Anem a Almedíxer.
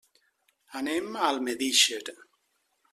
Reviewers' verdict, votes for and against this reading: accepted, 2, 0